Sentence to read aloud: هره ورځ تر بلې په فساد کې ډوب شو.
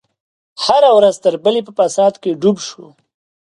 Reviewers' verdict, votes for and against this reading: accepted, 2, 0